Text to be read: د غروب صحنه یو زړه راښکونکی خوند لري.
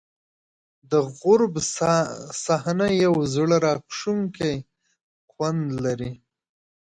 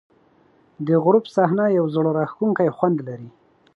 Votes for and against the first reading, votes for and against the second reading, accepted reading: 1, 2, 2, 0, second